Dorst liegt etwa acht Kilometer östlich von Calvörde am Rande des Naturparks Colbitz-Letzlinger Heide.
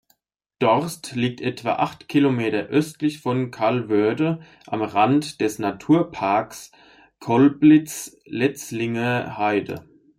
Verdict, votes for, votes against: accepted, 2, 1